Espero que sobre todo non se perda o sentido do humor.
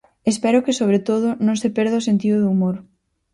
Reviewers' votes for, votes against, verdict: 4, 0, accepted